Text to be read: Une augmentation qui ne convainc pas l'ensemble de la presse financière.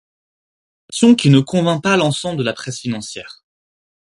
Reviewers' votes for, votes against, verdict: 2, 4, rejected